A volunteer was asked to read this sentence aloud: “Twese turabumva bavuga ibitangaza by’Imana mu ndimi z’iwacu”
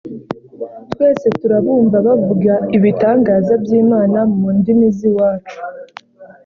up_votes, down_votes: 1, 2